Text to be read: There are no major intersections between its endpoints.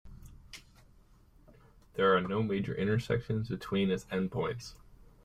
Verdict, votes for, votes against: accepted, 2, 0